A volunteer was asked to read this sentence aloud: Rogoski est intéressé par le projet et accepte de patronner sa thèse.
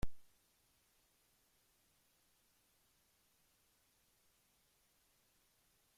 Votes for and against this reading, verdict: 0, 2, rejected